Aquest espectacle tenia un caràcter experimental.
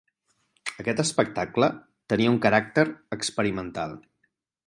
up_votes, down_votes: 6, 0